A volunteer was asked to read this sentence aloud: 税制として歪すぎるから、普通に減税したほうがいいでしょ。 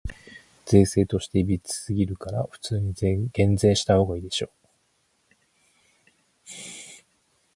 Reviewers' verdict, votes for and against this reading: accepted, 4, 0